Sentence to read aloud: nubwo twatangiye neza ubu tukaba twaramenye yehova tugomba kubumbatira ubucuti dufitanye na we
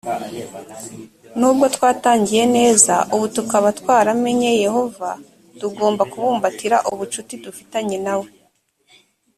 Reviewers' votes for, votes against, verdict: 2, 0, accepted